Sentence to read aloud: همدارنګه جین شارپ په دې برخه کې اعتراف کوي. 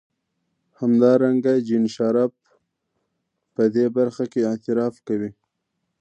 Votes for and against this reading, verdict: 2, 0, accepted